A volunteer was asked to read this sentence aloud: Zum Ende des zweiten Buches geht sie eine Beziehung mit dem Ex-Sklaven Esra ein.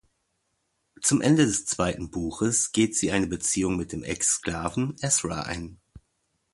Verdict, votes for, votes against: accepted, 2, 0